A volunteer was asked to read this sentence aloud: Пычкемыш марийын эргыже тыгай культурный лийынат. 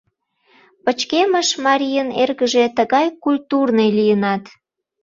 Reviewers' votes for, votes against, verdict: 2, 0, accepted